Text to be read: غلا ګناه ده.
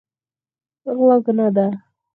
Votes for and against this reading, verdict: 2, 4, rejected